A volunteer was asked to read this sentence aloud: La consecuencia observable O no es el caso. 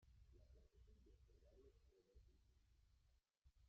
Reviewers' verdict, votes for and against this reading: rejected, 0, 2